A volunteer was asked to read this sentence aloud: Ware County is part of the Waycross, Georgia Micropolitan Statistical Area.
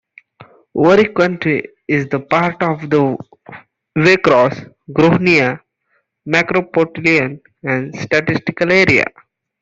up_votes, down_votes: 0, 2